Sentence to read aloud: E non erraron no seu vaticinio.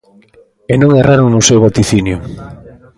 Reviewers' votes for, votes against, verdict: 2, 1, accepted